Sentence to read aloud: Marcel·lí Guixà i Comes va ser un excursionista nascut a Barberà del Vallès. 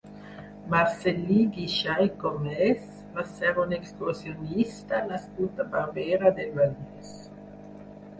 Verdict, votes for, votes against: rejected, 2, 4